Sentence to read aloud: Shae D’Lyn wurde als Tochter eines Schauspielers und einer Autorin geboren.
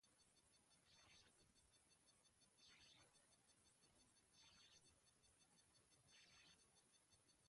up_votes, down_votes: 0, 2